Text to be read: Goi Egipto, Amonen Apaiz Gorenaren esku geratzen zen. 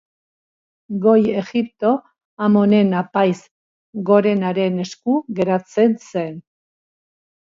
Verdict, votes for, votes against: accepted, 2, 0